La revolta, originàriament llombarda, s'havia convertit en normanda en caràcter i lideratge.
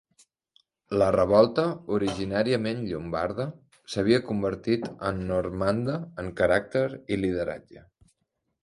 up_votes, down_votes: 2, 0